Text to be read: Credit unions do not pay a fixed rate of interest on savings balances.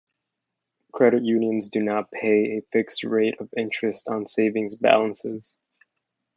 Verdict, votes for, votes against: accepted, 2, 0